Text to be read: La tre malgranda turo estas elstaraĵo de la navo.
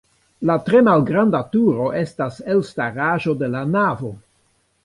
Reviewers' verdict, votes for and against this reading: rejected, 0, 3